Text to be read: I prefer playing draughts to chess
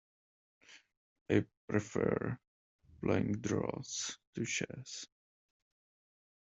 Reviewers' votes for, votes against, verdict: 1, 2, rejected